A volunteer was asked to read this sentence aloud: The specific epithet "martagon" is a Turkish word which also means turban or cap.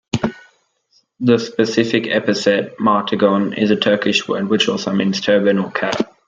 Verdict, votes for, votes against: accepted, 2, 0